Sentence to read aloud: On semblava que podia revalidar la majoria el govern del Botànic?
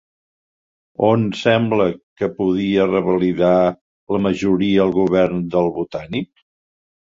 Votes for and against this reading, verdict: 0, 2, rejected